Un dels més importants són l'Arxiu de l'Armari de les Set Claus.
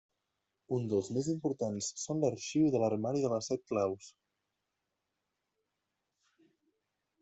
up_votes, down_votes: 0, 2